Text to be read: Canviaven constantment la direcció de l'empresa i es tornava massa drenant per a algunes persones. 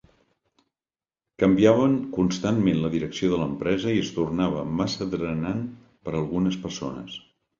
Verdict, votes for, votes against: accepted, 3, 0